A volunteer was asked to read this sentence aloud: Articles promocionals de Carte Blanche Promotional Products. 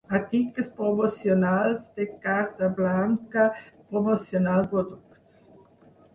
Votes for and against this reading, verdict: 2, 4, rejected